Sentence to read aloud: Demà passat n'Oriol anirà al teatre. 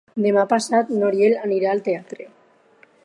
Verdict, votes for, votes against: accepted, 4, 0